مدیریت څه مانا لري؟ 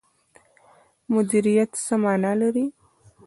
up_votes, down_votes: 1, 2